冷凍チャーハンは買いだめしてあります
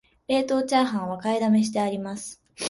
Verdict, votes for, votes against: accepted, 4, 0